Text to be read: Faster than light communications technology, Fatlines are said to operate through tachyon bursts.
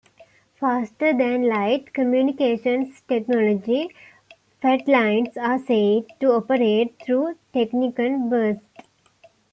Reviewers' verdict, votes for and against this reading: rejected, 1, 3